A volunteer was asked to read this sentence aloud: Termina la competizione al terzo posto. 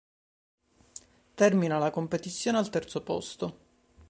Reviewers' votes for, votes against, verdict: 2, 0, accepted